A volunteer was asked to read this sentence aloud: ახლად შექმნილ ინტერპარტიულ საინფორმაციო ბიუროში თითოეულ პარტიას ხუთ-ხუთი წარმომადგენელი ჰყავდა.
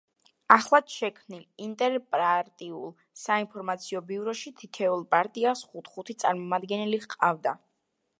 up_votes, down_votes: 0, 2